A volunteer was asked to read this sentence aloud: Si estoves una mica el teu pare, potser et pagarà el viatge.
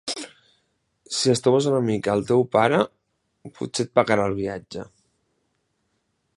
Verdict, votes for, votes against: accepted, 3, 1